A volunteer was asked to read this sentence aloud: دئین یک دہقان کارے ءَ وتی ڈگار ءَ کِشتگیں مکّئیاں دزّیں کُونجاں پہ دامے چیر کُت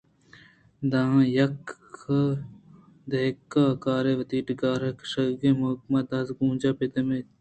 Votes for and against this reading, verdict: 2, 0, accepted